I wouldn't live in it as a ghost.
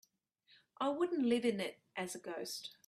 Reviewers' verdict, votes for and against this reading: accepted, 3, 0